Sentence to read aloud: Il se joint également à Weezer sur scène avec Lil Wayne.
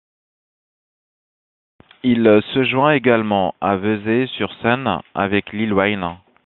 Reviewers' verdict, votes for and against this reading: rejected, 0, 2